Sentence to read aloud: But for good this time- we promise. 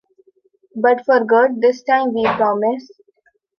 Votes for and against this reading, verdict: 2, 0, accepted